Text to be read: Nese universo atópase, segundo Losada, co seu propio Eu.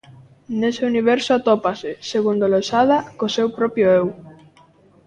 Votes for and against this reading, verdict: 2, 0, accepted